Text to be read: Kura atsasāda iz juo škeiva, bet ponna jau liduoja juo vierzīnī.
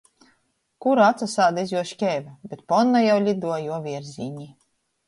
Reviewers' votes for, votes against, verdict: 2, 0, accepted